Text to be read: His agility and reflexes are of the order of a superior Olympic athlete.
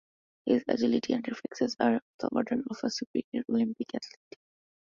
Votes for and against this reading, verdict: 0, 2, rejected